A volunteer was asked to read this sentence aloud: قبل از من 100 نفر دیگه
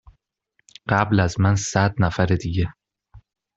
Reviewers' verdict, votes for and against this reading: rejected, 0, 2